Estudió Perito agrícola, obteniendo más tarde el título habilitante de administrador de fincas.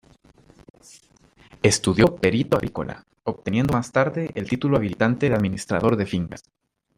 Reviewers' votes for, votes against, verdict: 2, 1, accepted